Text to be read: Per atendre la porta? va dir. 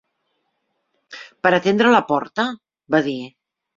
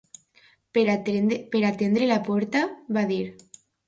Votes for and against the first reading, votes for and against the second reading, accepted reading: 3, 0, 0, 2, first